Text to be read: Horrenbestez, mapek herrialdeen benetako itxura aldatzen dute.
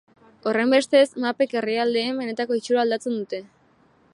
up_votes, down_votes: 2, 0